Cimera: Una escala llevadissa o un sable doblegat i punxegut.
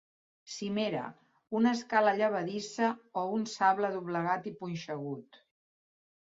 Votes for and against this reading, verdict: 2, 0, accepted